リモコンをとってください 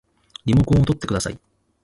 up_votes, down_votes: 2, 0